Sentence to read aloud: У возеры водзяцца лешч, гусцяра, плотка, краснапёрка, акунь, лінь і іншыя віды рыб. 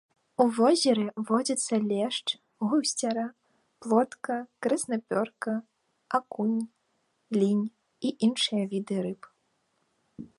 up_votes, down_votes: 2, 0